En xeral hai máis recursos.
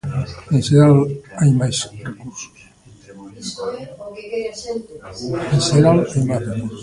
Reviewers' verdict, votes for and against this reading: rejected, 0, 2